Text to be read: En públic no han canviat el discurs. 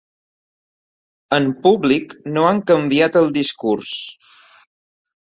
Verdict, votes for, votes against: accepted, 3, 0